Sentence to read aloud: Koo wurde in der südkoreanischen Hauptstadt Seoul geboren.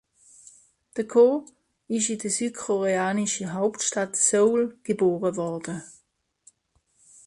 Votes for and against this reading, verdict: 0, 2, rejected